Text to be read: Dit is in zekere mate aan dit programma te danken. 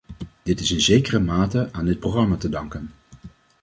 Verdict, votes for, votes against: accepted, 2, 0